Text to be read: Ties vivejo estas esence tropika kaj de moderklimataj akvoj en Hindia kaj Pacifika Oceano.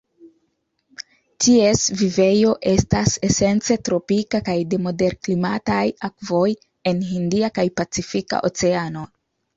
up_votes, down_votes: 2, 0